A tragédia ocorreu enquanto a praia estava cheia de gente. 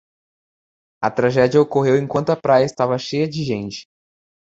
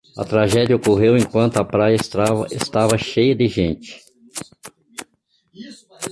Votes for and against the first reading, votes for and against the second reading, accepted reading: 2, 0, 0, 2, first